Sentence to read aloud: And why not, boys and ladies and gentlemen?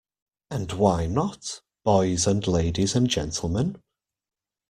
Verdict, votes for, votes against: accepted, 2, 0